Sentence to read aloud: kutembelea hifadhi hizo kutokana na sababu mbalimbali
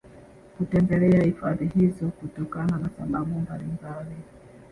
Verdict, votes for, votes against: rejected, 0, 2